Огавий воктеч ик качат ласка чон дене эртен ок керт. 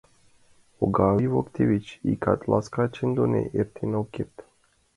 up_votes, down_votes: 0, 2